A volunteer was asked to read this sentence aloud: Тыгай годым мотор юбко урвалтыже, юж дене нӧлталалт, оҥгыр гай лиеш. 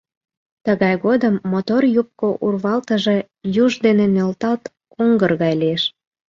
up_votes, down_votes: 1, 2